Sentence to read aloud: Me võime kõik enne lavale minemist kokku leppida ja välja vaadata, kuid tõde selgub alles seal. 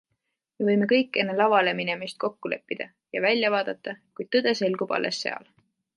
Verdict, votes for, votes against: accepted, 2, 0